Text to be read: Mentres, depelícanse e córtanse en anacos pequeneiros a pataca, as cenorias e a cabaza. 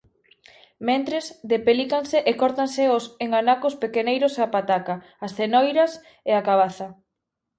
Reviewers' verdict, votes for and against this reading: rejected, 1, 4